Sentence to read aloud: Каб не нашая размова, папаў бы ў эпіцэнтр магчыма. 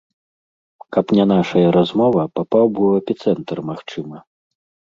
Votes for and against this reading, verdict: 2, 0, accepted